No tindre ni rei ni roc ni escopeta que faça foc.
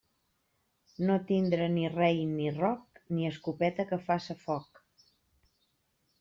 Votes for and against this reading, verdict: 2, 0, accepted